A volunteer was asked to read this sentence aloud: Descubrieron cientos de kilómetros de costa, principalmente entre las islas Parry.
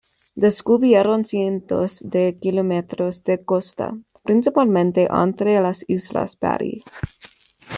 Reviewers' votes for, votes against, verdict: 0, 2, rejected